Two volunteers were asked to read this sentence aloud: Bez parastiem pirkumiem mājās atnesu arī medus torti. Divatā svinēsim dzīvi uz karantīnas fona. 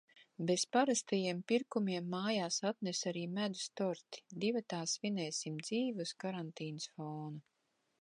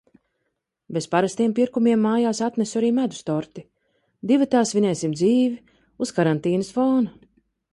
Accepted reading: second